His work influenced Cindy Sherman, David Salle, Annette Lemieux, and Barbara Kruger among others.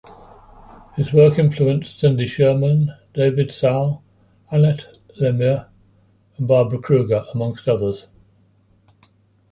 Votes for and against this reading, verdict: 1, 2, rejected